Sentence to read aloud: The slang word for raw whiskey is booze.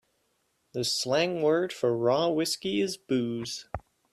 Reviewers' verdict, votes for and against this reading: accepted, 2, 0